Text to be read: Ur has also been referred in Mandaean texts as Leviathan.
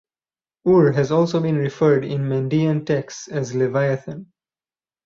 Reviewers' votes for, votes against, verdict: 4, 0, accepted